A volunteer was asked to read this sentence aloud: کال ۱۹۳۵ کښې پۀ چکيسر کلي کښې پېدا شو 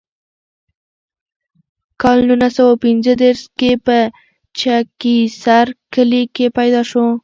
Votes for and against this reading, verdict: 0, 2, rejected